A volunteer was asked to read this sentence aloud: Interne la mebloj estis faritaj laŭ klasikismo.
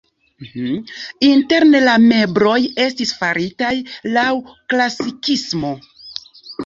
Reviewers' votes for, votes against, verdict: 0, 2, rejected